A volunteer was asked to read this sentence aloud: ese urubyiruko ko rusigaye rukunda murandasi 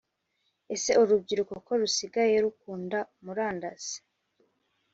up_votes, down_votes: 3, 0